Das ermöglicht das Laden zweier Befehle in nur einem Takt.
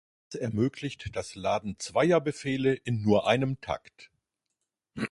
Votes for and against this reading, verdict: 1, 2, rejected